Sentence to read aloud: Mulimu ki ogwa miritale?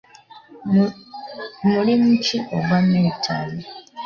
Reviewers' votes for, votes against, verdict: 2, 0, accepted